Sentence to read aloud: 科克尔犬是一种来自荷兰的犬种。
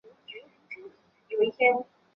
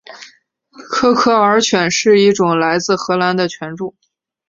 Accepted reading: second